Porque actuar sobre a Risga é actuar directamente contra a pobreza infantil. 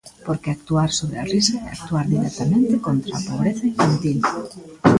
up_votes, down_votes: 1, 2